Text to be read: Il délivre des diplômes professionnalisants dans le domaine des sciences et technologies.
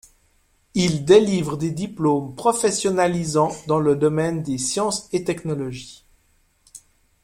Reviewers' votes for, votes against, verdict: 2, 0, accepted